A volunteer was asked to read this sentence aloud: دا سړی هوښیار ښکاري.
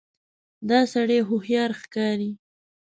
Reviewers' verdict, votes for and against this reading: accepted, 2, 0